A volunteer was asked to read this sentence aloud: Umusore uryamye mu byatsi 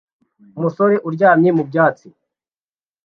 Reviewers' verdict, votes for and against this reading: accepted, 2, 0